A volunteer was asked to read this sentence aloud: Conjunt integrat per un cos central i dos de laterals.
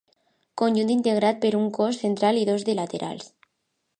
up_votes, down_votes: 2, 0